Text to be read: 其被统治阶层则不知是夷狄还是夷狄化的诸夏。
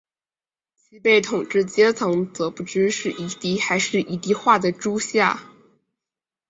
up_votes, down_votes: 2, 2